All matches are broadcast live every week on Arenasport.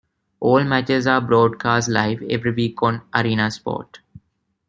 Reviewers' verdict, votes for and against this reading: accepted, 2, 0